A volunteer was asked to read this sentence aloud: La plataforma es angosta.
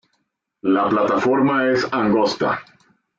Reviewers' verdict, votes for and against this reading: accepted, 2, 1